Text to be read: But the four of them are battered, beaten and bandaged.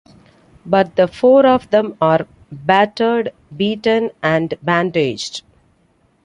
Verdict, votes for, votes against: accepted, 2, 0